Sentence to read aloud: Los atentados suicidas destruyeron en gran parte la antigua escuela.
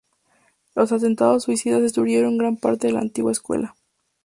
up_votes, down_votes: 2, 0